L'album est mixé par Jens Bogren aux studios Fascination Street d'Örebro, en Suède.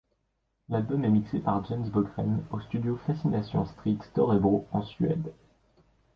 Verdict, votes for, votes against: accepted, 2, 0